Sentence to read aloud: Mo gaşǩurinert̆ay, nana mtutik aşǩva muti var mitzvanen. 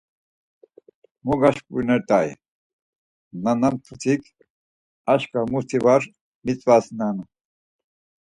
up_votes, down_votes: 4, 2